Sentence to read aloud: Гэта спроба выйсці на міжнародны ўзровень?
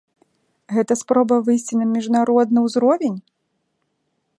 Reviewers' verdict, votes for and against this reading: accepted, 2, 0